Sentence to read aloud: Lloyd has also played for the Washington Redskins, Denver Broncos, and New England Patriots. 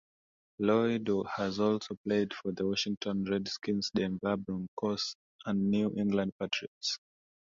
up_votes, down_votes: 2, 1